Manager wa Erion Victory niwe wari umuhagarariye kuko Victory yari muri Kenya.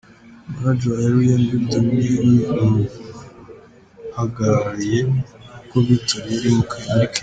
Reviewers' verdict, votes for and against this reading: rejected, 1, 2